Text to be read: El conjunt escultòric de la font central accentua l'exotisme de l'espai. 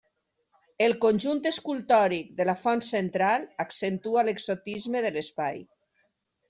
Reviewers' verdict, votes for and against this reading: accepted, 3, 0